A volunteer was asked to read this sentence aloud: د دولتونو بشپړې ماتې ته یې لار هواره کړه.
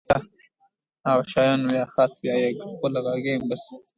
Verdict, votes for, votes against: rejected, 0, 2